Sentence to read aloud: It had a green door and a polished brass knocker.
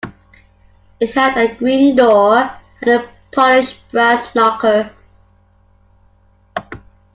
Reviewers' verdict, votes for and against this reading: rejected, 1, 2